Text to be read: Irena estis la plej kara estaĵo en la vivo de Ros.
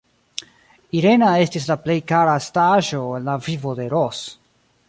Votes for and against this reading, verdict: 1, 2, rejected